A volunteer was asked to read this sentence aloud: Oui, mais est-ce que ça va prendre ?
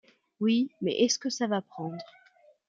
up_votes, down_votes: 2, 0